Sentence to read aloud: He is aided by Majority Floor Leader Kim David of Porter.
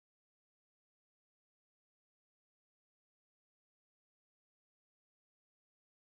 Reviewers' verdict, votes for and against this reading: rejected, 0, 4